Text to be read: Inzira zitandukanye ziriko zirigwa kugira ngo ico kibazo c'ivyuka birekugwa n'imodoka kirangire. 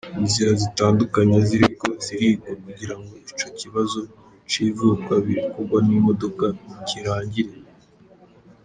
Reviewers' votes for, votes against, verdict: 1, 2, rejected